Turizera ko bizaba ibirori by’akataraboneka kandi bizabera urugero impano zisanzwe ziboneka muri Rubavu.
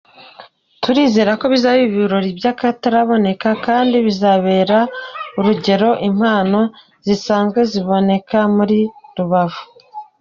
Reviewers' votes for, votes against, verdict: 2, 0, accepted